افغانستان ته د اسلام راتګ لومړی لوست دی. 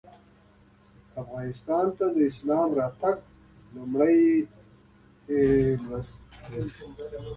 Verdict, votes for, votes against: accepted, 2, 0